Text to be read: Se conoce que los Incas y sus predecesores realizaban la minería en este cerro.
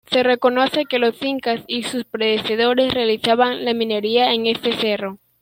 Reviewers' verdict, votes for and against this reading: rejected, 0, 2